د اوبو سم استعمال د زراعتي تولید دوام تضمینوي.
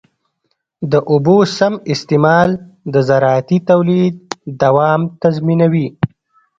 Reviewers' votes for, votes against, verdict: 1, 2, rejected